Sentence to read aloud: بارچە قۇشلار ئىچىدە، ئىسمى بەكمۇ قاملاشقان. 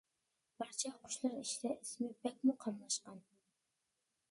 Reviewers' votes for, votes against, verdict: 2, 0, accepted